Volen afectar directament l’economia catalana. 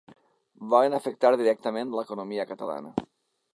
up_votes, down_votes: 3, 0